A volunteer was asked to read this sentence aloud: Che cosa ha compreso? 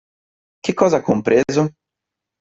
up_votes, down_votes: 2, 0